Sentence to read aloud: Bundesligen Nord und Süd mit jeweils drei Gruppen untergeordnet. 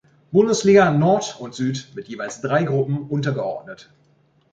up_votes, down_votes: 0, 2